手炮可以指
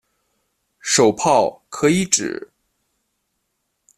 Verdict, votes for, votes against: accepted, 2, 0